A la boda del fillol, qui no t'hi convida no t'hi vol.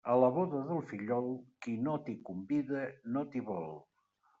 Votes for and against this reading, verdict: 2, 0, accepted